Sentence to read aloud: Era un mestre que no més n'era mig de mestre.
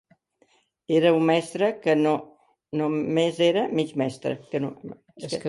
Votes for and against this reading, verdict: 1, 2, rejected